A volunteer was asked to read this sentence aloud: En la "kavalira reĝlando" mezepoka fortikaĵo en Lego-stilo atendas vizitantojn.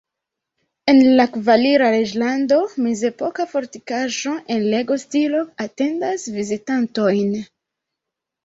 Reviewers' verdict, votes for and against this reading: rejected, 1, 2